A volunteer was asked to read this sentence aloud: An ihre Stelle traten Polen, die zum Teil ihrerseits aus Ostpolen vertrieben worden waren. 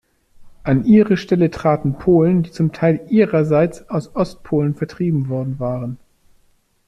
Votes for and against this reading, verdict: 2, 0, accepted